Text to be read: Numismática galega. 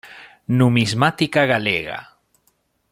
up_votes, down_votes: 2, 0